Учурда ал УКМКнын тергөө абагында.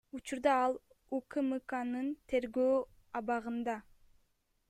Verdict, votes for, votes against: rejected, 1, 2